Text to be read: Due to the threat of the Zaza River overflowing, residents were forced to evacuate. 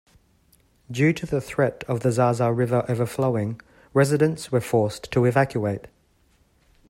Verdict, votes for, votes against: accepted, 2, 0